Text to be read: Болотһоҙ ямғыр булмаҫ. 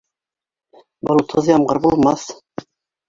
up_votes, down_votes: 1, 2